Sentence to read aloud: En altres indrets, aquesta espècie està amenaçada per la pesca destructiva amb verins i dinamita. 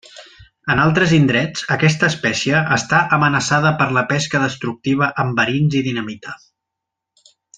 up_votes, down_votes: 2, 0